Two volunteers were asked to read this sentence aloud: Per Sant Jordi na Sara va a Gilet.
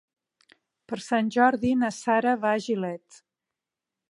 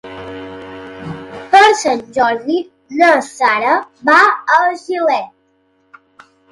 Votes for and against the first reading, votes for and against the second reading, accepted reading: 3, 0, 2, 3, first